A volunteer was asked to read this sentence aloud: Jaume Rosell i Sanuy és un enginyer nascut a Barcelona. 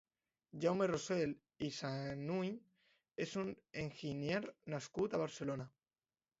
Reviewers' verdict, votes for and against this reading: rejected, 0, 2